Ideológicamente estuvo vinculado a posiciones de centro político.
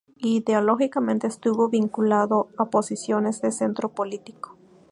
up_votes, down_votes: 2, 0